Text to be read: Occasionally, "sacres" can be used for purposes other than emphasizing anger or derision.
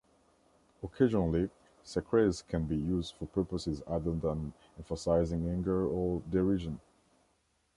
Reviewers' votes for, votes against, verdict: 2, 0, accepted